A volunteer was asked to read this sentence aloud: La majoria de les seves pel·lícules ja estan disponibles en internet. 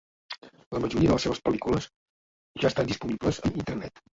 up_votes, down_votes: 1, 2